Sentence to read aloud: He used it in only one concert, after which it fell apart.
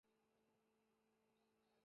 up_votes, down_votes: 0, 2